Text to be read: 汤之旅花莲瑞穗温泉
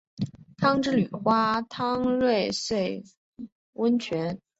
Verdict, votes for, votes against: rejected, 1, 2